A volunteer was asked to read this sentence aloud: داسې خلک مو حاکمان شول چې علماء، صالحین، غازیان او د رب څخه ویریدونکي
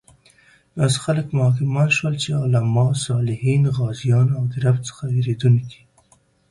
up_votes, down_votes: 2, 0